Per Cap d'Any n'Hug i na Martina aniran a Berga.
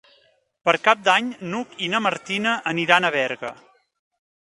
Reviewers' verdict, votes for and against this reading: accepted, 3, 0